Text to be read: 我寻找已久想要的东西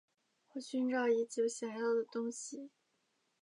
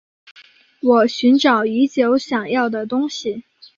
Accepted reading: second